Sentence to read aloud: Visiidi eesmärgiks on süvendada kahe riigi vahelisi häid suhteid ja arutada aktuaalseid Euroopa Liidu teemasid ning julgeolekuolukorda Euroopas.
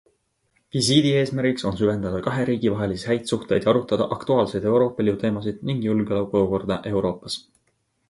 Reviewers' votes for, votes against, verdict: 2, 0, accepted